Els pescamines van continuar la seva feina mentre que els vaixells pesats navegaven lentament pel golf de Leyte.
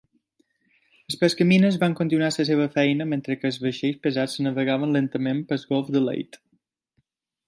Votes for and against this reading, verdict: 3, 2, accepted